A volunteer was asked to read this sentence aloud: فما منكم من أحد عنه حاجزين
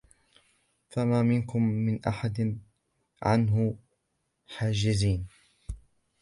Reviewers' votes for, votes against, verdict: 2, 0, accepted